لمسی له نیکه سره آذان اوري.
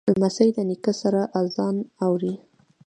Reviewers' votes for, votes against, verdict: 2, 0, accepted